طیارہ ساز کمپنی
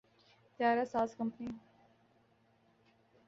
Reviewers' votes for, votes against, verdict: 2, 0, accepted